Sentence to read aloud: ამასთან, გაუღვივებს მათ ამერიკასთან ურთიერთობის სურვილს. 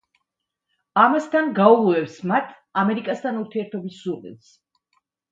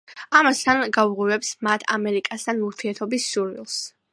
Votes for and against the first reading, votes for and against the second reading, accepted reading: 1, 2, 2, 0, second